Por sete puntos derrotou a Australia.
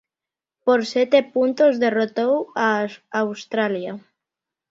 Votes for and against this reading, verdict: 1, 2, rejected